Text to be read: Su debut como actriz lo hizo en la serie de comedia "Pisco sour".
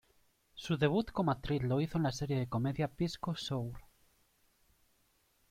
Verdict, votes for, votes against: accepted, 2, 0